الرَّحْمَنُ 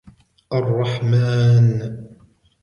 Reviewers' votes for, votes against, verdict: 2, 1, accepted